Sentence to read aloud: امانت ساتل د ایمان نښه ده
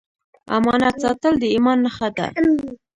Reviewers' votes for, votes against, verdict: 1, 2, rejected